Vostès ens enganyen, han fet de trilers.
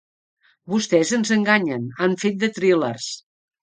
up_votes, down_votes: 0, 2